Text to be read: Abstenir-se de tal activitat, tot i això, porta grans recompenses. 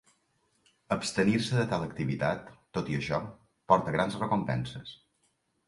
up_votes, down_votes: 3, 0